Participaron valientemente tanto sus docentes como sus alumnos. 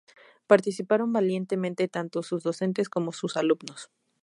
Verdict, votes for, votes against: accepted, 4, 0